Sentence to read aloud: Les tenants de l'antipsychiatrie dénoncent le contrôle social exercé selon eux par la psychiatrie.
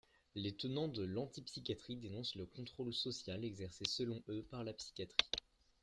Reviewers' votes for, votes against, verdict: 2, 0, accepted